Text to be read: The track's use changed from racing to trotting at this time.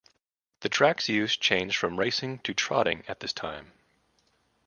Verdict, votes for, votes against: accepted, 2, 0